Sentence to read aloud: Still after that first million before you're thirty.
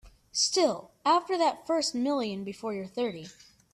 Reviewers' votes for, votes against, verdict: 3, 0, accepted